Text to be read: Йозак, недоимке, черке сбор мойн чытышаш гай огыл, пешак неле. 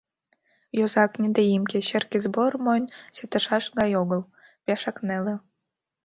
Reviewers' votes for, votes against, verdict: 2, 0, accepted